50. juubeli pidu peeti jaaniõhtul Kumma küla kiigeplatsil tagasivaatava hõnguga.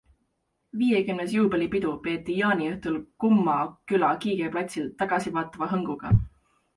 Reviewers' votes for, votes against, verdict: 0, 2, rejected